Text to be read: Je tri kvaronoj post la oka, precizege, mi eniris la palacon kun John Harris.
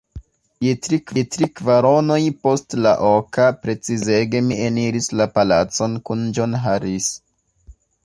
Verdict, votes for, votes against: rejected, 2, 4